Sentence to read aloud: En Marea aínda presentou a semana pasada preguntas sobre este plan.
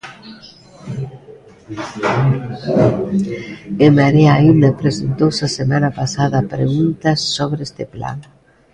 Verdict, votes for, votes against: rejected, 0, 2